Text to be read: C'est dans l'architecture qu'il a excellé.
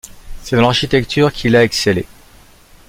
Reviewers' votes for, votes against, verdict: 3, 1, accepted